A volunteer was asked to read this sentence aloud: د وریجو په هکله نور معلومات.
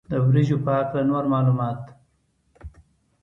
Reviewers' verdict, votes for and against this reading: accepted, 3, 0